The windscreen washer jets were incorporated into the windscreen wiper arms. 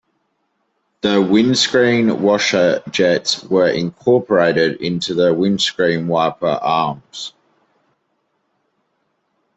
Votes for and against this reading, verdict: 2, 0, accepted